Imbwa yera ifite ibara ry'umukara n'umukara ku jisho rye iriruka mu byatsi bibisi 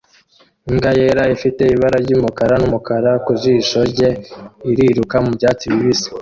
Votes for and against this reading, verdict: 0, 2, rejected